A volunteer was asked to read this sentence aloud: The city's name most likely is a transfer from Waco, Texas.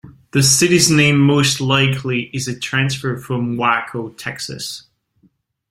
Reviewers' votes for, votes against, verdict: 2, 0, accepted